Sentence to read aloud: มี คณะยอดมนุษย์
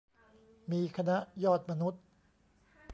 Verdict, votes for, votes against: rejected, 1, 2